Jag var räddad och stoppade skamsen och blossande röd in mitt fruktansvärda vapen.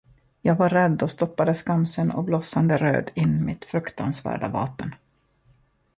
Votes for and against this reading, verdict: 0, 2, rejected